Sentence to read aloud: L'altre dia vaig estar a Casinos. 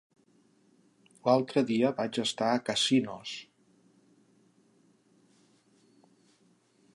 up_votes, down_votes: 3, 0